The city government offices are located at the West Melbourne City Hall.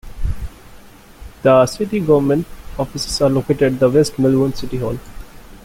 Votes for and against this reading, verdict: 2, 1, accepted